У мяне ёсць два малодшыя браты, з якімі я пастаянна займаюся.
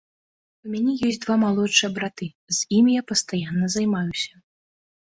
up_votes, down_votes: 0, 2